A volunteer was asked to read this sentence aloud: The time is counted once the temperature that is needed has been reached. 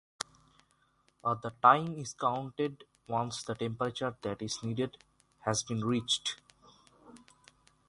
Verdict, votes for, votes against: rejected, 0, 3